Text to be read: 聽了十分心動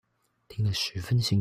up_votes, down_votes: 0, 2